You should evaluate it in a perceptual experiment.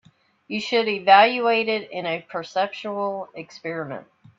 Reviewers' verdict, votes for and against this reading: accepted, 3, 0